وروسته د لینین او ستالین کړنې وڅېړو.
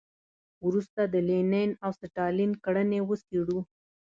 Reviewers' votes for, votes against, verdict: 2, 0, accepted